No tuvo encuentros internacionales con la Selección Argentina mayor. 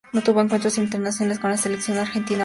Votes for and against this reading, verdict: 0, 2, rejected